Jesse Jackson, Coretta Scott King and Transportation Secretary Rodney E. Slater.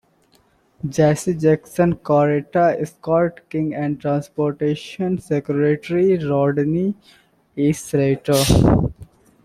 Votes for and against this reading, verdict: 2, 1, accepted